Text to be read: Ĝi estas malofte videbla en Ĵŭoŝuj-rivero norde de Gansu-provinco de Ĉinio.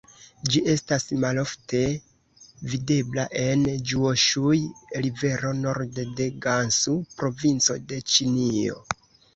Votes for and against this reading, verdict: 2, 0, accepted